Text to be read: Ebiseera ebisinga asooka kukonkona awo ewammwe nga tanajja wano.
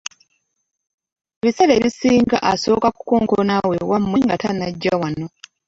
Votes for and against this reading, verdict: 0, 2, rejected